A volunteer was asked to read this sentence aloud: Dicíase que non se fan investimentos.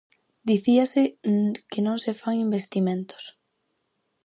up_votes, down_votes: 4, 0